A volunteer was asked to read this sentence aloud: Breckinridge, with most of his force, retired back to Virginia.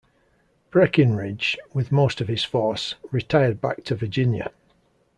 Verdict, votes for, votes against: accepted, 2, 0